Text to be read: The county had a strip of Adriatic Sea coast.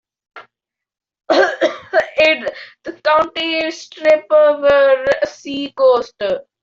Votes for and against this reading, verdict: 0, 2, rejected